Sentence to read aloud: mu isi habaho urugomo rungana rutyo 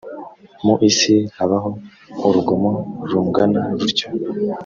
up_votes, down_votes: 2, 0